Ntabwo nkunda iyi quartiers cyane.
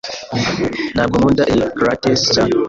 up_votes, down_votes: 0, 2